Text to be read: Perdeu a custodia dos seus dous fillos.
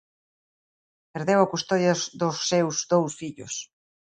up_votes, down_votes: 0, 2